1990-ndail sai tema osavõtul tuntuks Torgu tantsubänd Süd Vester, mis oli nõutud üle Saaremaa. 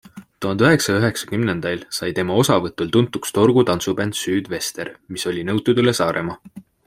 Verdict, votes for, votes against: rejected, 0, 2